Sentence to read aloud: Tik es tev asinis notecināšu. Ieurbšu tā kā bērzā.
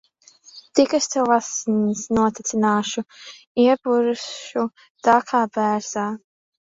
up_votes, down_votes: 1, 2